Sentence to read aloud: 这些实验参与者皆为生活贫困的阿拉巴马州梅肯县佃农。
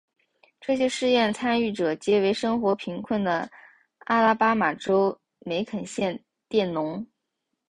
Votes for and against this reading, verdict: 2, 0, accepted